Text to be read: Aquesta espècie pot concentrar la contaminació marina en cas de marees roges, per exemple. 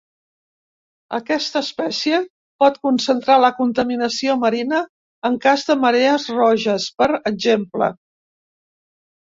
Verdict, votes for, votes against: accepted, 5, 0